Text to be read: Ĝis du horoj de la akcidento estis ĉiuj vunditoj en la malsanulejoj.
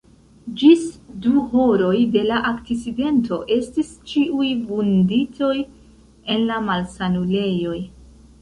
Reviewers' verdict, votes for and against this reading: rejected, 0, 2